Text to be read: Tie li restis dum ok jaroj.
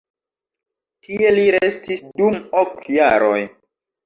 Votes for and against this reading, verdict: 0, 2, rejected